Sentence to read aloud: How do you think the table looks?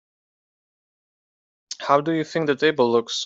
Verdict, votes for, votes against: accepted, 2, 0